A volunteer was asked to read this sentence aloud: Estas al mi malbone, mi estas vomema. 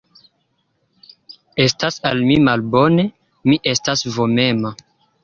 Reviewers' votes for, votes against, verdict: 2, 0, accepted